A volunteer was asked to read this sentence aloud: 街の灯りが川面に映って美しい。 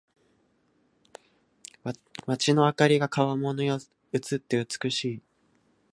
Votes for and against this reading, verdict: 1, 2, rejected